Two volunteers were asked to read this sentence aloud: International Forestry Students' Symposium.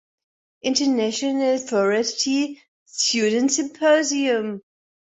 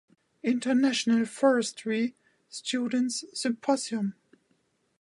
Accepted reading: second